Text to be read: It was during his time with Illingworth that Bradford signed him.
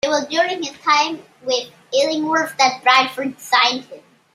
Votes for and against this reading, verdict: 2, 0, accepted